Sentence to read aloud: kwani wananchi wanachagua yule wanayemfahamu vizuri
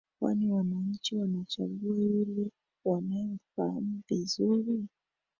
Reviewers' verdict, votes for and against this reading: rejected, 1, 2